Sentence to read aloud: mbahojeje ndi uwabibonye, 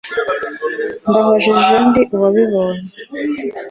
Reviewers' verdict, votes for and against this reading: accepted, 2, 0